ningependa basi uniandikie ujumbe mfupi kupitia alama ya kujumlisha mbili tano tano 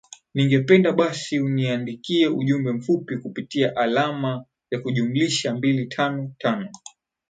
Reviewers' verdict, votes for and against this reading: accepted, 16, 0